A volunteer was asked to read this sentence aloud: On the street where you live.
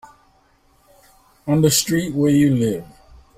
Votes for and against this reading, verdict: 3, 0, accepted